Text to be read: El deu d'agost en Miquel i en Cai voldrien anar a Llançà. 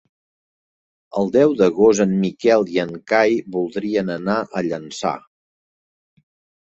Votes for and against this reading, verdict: 3, 0, accepted